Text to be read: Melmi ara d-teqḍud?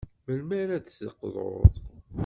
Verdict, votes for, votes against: accepted, 2, 0